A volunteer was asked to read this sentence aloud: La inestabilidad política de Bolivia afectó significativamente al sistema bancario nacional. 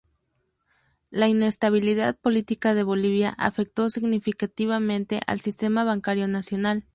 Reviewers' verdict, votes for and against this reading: rejected, 0, 2